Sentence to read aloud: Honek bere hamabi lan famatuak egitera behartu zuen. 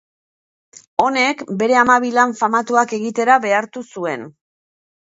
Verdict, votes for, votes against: accepted, 2, 0